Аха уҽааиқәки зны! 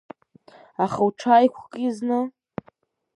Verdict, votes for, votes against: accepted, 2, 0